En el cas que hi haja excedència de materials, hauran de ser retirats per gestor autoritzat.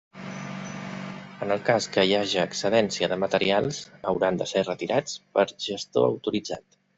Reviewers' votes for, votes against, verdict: 3, 0, accepted